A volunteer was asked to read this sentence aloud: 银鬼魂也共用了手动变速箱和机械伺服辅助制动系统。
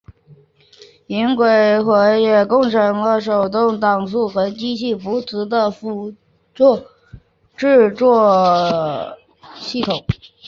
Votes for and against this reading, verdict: 0, 2, rejected